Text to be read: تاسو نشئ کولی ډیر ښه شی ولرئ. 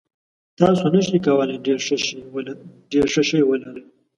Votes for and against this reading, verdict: 1, 2, rejected